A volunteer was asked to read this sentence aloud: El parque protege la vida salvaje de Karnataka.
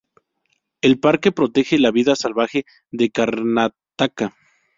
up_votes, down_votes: 2, 0